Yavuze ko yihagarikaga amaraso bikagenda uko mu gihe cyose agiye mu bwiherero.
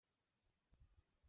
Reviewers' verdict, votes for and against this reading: rejected, 0, 2